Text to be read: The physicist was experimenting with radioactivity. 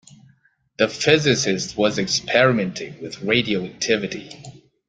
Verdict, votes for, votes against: accepted, 2, 0